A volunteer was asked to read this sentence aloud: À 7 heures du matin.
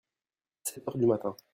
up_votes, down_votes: 0, 2